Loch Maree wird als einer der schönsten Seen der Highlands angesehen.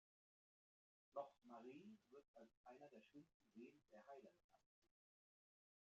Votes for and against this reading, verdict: 0, 2, rejected